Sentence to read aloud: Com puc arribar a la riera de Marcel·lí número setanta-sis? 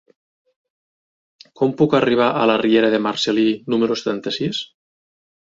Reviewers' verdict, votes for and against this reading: accepted, 3, 0